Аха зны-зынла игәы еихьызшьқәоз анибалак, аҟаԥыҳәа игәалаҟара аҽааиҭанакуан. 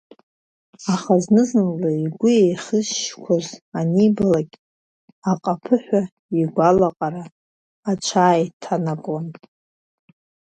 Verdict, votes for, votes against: rejected, 1, 2